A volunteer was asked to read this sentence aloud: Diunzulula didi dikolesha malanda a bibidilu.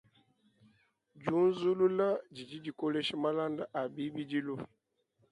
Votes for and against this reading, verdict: 2, 0, accepted